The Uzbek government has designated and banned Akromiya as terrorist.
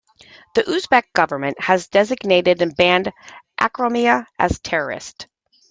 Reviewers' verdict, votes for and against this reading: accepted, 2, 0